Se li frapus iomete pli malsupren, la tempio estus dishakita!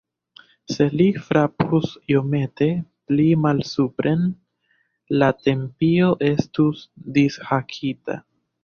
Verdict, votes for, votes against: rejected, 1, 2